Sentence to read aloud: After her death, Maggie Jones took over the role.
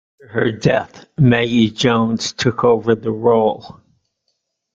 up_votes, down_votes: 0, 2